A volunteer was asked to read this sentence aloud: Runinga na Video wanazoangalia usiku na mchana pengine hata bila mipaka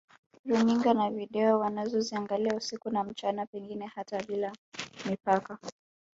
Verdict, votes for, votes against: rejected, 0, 2